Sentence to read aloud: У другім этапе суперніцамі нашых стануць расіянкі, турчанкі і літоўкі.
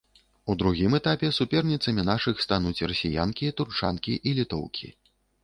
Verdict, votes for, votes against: accepted, 2, 0